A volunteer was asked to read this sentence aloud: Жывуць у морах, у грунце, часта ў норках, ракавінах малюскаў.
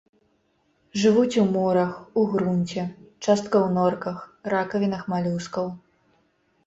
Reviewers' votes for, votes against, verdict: 1, 2, rejected